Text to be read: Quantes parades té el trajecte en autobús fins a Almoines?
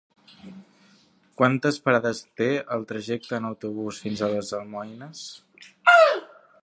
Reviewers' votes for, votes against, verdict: 0, 3, rejected